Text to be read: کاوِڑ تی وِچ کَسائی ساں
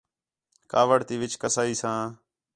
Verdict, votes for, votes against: accepted, 4, 0